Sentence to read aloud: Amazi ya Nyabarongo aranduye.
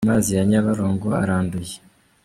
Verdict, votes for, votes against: rejected, 1, 2